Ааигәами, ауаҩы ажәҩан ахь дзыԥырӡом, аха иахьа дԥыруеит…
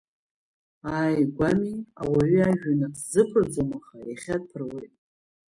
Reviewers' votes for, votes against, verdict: 0, 2, rejected